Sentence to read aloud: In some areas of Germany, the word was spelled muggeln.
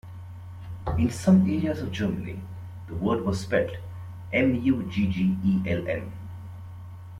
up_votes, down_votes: 2, 0